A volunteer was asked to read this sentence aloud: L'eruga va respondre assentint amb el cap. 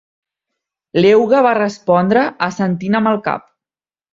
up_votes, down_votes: 0, 2